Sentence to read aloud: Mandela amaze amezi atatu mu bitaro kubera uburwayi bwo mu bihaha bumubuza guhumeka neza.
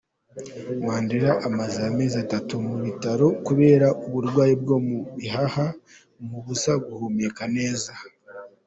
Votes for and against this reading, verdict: 2, 0, accepted